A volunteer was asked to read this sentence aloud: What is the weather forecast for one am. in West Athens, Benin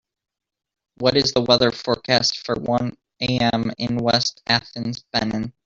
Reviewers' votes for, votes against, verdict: 2, 0, accepted